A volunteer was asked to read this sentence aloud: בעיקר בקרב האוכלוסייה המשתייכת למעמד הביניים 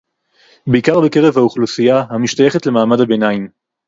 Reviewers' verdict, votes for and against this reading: accepted, 2, 0